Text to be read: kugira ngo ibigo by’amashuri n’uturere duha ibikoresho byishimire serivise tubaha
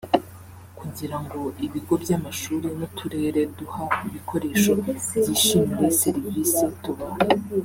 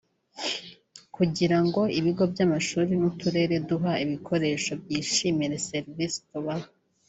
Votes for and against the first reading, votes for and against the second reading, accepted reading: 1, 2, 3, 0, second